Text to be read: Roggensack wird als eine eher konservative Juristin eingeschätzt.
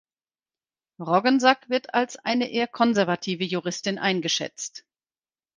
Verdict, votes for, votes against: accepted, 4, 0